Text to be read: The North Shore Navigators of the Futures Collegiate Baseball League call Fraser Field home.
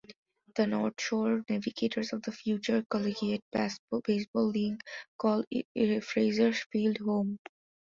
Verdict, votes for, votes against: rejected, 0, 2